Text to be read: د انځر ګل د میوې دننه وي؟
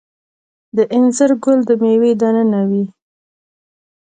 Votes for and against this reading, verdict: 1, 2, rejected